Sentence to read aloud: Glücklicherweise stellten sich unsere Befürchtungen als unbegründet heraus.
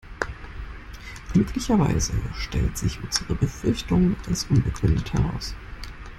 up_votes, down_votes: 0, 2